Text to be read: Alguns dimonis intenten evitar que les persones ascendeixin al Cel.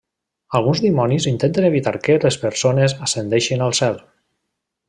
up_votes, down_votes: 3, 0